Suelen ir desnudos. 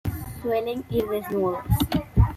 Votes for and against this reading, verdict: 2, 1, accepted